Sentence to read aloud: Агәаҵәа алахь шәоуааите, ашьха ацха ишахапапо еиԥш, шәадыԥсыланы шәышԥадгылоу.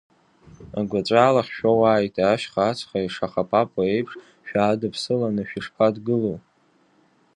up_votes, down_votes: 2, 0